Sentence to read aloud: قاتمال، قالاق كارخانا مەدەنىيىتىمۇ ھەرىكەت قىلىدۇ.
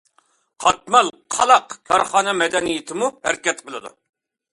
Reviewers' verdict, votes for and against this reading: accepted, 2, 0